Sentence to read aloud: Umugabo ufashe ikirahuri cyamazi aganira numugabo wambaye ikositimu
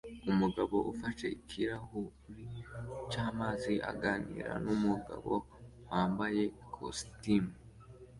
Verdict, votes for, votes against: accepted, 2, 1